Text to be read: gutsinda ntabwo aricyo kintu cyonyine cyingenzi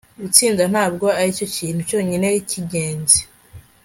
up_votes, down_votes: 3, 0